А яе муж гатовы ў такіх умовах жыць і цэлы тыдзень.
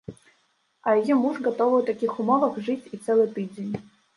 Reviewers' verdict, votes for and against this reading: rejected, 0, 2